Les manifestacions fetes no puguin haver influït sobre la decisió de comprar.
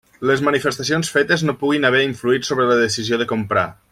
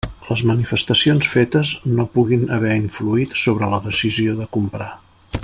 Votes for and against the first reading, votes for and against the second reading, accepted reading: 1, 2, 3, 0, second